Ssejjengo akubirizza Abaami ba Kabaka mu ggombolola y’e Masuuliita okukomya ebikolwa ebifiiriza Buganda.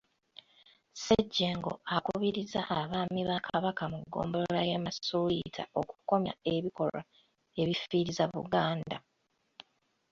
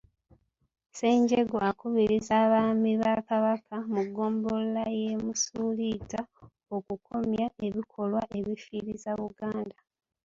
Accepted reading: first